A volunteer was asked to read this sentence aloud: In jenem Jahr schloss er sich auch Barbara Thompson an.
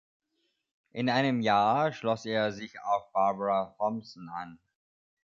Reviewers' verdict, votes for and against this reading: rejected, 1, 2